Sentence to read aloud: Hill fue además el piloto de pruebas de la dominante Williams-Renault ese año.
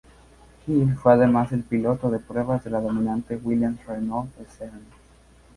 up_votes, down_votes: 0, 2